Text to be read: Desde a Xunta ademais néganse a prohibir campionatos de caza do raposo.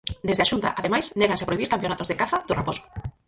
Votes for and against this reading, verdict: 2, 4, rejected